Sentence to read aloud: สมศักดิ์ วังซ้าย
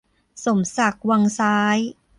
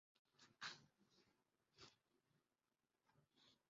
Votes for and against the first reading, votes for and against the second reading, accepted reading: 2, 0, 0, 2, first